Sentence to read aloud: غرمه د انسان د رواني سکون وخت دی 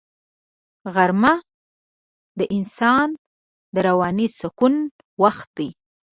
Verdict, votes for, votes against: accepted, 2, 0